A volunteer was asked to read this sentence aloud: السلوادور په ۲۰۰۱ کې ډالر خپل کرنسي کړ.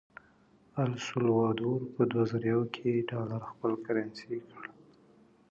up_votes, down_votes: 0, 2